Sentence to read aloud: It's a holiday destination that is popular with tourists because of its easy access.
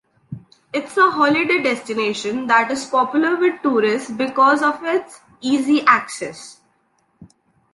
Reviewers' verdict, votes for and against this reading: accepted, 2, 0